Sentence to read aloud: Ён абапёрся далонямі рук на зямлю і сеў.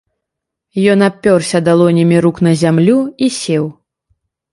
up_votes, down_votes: 1, 2